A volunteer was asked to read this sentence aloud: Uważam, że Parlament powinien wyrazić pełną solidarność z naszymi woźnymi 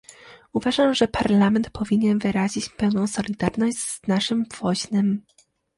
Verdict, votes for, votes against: rejected, 0, 2